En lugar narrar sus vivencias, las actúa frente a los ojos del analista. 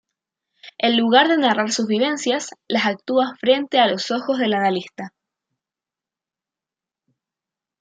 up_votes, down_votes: 2, 0